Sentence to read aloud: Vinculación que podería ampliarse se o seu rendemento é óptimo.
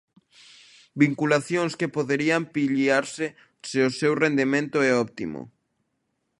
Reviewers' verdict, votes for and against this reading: rejected, 0, 2